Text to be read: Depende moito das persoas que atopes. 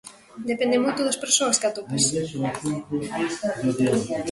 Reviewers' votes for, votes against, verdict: 2, 0, accepted